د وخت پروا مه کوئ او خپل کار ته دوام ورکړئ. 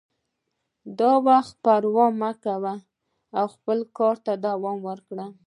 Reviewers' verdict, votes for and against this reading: rejected, 1, 2